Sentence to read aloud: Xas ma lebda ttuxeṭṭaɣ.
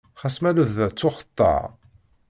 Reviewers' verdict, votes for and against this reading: accepted, 2, 0